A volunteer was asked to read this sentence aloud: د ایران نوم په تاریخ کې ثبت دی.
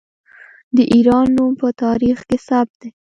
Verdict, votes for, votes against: rejected, 1, 2